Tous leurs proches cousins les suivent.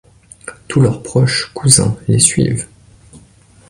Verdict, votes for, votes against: accepted, 2, 0